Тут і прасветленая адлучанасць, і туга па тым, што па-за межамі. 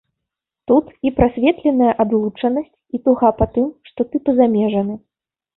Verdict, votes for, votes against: rejected, 2, 3